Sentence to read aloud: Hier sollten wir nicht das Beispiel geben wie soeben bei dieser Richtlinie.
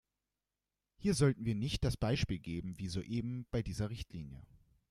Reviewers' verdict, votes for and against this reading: accepted, 2, 0